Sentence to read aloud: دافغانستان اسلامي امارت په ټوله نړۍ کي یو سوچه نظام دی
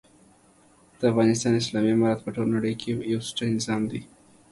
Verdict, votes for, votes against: accepted, 3, 0